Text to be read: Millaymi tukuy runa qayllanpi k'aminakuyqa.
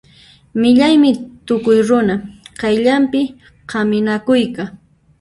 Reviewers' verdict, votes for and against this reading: rejected, 0, 2